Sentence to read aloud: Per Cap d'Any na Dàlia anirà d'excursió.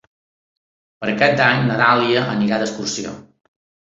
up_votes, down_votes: 3, 0